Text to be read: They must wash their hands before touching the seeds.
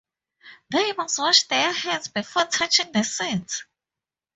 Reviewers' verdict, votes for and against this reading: accepted, 4, 0